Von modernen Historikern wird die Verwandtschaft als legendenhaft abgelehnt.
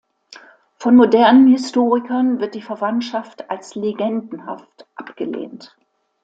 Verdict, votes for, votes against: accepted, 2, 0